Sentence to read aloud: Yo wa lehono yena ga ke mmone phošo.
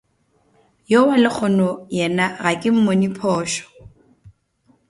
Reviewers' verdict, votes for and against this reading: accepted, 2, 0